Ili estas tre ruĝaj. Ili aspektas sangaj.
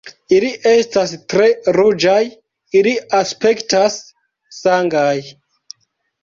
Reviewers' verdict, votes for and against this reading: rejected, 0, 2